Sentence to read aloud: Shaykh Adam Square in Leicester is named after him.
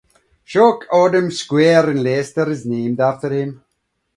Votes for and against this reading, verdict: 2, 0, accepted